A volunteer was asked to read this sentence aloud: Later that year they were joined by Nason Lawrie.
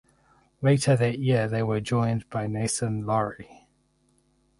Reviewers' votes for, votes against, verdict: 4, 0, accepted